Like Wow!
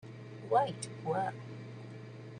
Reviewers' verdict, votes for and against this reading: rejected, 0, 2